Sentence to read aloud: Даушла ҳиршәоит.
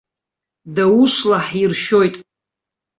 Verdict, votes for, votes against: accepted, 2, 0